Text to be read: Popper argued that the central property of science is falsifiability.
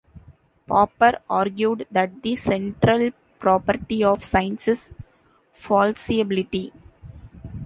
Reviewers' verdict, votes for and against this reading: rejected, 0, 2